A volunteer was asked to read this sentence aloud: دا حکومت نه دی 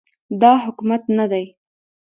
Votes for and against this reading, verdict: 2, 0, accepted